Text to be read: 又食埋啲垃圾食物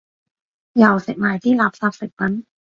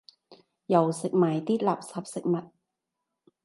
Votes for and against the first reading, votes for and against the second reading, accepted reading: 1, 2, 2, 0, second